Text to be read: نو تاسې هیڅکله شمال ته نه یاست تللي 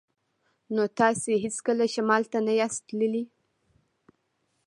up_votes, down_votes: 2, 0